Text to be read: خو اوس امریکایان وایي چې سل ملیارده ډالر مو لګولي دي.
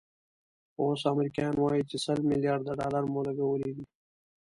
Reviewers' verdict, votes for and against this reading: accepted, 2, 1